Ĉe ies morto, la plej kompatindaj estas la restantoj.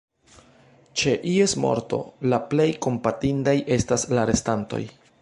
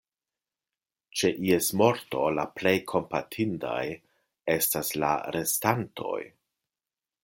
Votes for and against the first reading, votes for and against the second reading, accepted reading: 1, 2, 2, 0, second